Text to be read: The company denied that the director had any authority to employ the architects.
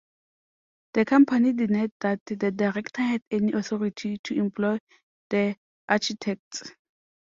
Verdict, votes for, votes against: rejected, 0, 2